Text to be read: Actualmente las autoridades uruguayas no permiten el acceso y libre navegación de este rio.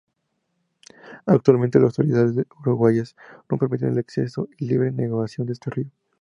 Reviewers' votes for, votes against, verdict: 2, 0, accepted